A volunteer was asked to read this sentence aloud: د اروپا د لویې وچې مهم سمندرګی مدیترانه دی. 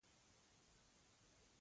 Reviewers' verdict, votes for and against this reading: rejected, 0, 2